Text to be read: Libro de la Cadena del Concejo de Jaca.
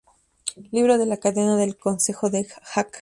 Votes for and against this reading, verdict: 0, 2, rejected